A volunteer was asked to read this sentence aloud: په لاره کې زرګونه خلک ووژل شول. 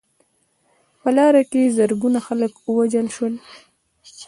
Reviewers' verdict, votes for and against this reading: accepted, 2, 0